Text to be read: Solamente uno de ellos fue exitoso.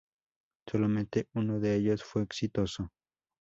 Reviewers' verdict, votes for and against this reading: accepted, 2, 0